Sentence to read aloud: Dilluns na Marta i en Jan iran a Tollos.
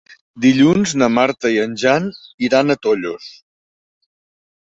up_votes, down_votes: 3, 0